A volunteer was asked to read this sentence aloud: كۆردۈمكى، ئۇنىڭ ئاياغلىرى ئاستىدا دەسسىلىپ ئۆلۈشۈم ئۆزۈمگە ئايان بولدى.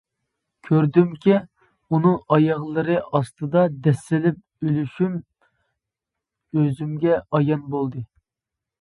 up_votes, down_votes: 2, 0